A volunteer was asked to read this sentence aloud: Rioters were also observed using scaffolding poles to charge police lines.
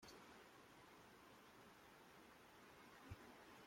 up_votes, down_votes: 0, 2